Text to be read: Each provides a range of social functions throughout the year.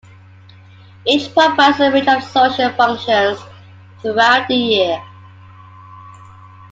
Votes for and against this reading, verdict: 0, 2, rejected